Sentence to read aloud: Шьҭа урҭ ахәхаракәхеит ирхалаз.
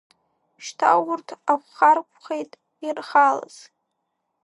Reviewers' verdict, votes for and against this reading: rejected, 0, 3